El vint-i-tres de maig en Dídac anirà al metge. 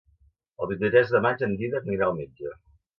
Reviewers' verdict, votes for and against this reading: accepted, 2, 1